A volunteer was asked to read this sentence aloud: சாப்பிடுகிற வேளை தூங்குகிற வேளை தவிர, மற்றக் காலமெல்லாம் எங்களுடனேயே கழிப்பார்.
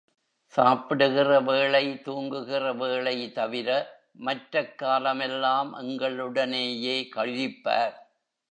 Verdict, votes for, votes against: rejected, 1, 3